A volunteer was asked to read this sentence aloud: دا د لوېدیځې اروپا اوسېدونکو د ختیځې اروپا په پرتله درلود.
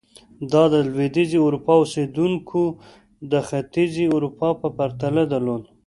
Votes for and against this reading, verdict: 2, 0, accepted